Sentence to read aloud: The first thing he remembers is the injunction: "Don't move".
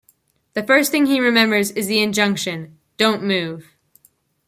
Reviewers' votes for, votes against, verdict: 2, 0, accepted